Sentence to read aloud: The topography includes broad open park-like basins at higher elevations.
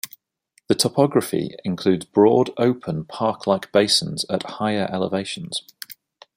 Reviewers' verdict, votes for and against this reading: accepted, 2, 0